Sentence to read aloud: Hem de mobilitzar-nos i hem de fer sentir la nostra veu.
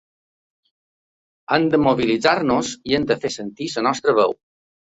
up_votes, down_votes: 1, 2